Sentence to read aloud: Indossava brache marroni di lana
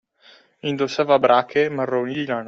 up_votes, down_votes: 2, 0